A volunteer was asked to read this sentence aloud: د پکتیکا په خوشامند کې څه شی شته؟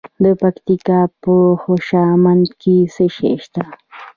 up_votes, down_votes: 0, 2